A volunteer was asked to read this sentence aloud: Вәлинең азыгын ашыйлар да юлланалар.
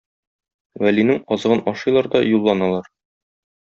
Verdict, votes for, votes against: accepted, 2, 0